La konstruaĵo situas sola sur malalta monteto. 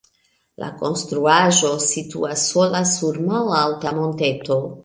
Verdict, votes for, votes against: accepted, 2, 1